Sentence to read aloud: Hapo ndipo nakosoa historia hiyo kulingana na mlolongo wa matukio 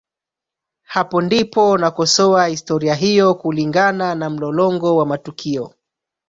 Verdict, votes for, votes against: rejected, 0, 2